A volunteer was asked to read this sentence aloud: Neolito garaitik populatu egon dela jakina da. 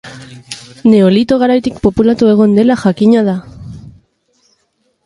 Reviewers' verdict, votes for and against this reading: accepted, 2, 0